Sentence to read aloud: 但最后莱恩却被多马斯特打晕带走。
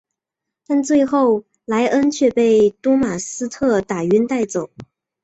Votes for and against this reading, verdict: 3, 0, accepted